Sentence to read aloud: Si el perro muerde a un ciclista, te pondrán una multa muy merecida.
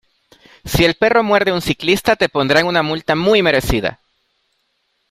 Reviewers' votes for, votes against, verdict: 2, 0, accepted